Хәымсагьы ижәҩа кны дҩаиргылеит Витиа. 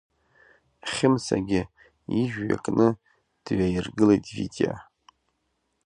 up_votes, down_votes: 1, 2